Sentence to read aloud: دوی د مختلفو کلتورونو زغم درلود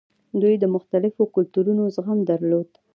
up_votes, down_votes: 0, 2